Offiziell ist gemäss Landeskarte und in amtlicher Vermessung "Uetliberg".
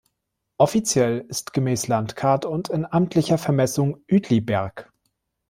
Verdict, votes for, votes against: rejected, 0, 2